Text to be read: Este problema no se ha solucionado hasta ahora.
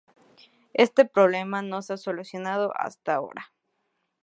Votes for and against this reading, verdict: 2, 0, accepted